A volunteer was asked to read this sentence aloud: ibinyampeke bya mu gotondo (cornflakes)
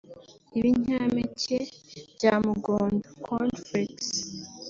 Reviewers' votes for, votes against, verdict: 0, 3, rejected